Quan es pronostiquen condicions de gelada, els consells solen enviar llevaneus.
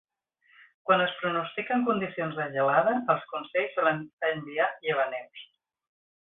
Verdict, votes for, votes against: rejected, 1, 2